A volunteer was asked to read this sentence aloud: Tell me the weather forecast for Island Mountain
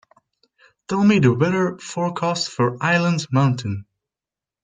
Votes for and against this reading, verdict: 3, 0, accepted